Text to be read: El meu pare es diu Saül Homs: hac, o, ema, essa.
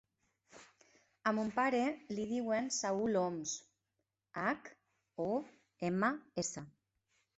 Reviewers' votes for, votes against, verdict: 1, 2, rejected